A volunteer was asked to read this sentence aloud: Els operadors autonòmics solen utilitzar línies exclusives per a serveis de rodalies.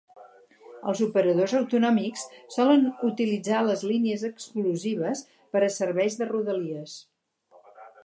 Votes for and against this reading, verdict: 2, 0, accepted